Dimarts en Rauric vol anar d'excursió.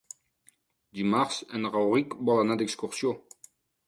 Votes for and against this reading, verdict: 3, 0, accepted